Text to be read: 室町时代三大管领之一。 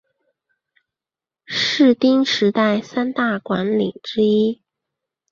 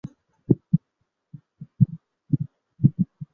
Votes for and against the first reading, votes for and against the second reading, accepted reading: 2, 1, 1, 4, first